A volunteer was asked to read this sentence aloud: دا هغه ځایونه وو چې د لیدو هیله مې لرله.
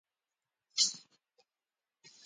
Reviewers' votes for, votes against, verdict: 0, 2, rejected